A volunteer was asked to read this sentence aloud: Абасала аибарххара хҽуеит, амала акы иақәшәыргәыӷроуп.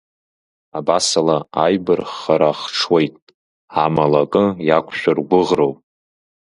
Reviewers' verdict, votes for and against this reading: accepted, 2, 0